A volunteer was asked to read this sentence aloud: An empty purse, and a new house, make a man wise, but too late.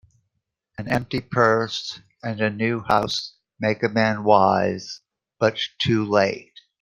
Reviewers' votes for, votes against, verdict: 2, 0, accepted